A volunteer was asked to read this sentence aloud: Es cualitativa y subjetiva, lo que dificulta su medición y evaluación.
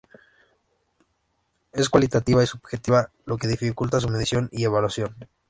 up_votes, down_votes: 2, 0